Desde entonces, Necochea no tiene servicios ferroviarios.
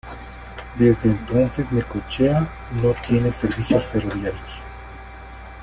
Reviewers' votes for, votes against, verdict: 2, 0, accepted